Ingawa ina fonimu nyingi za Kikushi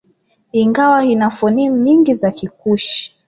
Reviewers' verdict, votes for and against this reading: accepted, 2, 1